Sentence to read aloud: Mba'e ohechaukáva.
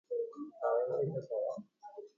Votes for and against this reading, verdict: 0, 2, rejected